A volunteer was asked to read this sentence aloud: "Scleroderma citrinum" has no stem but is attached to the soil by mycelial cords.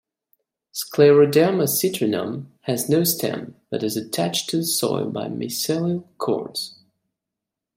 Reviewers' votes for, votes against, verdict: 1, 2, rejected